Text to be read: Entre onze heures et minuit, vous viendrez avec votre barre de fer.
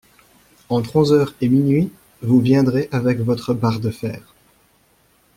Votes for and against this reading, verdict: 2, 1, accepted